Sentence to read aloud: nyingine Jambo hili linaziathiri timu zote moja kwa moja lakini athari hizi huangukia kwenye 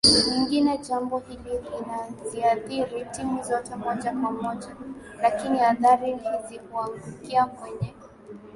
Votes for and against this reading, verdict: 3, 2, accepted